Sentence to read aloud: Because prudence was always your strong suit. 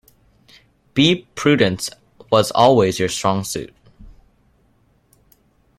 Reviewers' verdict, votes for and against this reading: rejected, 0, 2